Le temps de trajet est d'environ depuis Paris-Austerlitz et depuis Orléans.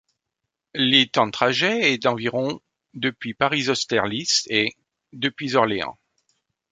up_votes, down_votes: 1, 2